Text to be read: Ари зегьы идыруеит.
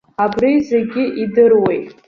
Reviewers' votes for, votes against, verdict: 0, 2, rejected